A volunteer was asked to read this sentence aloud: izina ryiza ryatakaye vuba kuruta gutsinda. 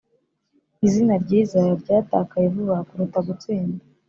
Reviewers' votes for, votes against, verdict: 2, 0, accepted